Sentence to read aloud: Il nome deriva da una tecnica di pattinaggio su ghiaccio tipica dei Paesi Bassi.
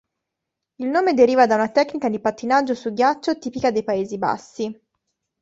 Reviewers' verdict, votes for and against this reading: accepted, 4, 0